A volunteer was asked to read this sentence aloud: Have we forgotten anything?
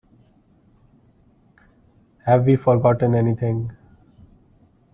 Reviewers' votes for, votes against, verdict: 2, 1, accepted